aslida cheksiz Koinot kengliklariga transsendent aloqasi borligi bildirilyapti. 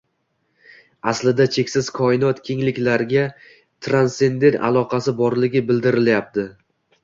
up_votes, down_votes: 2, 0